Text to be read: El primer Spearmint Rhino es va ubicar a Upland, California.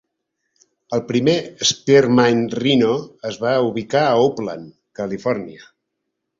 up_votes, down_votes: 0, 2